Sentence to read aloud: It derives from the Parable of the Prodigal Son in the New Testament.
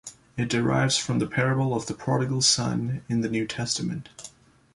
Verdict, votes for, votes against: accepted, 2, 0